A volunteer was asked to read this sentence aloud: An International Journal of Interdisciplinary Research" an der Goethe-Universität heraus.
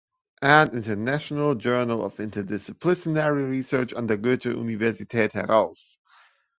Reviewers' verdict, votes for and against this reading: accepted, 3, 0